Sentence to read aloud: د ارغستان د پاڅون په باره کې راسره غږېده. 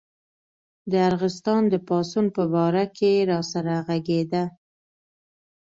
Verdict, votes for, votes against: accepted, 2, 0